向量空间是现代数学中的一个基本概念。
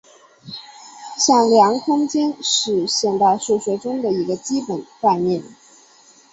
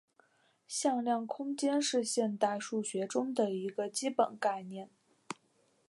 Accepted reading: second